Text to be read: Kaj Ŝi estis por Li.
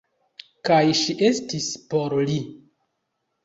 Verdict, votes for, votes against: rejected, 1, 2